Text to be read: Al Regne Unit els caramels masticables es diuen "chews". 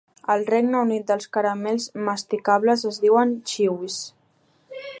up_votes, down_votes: 3, 0